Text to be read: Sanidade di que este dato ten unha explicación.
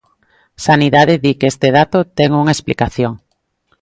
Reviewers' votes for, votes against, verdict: 2, 0, accepted